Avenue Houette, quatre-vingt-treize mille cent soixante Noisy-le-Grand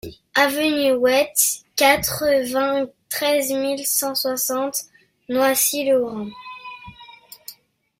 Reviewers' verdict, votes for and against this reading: rejected, 1, 2